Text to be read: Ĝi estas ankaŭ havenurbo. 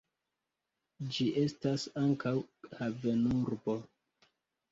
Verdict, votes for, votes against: accepted, 2, 1